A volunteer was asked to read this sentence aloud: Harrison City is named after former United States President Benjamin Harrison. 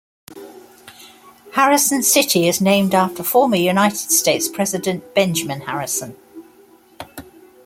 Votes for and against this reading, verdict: 2, 0, accepted